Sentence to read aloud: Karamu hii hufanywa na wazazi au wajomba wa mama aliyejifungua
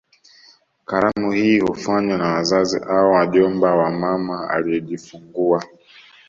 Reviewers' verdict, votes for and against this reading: accepted, 2, 0